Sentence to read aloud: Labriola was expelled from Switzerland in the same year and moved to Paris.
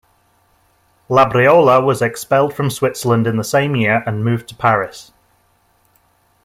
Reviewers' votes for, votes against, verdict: 2, 0, accepted